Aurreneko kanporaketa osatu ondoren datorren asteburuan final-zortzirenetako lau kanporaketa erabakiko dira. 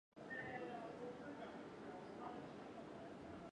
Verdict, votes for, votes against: rejected, 0, 4